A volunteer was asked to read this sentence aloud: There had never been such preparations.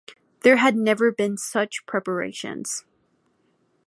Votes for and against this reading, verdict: 2, 0, accepted